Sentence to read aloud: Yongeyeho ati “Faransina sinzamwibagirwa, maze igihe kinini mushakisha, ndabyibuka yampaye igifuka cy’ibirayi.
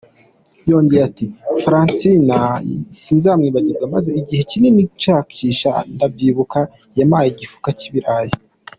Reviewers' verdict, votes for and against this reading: rejected, 0, 2